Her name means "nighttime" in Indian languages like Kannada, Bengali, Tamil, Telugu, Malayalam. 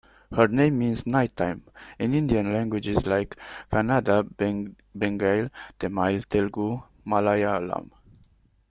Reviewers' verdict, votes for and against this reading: rejected, 1, 2